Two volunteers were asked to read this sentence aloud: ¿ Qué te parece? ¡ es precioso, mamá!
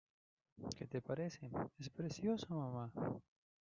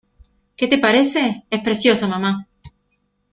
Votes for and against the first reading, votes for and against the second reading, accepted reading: 0, 2, 2, 0, second